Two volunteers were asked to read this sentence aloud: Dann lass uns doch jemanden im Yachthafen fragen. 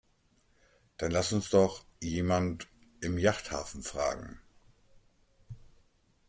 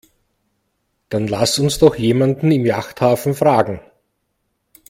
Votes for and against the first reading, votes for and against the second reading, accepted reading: 0, 2, 2, 0, second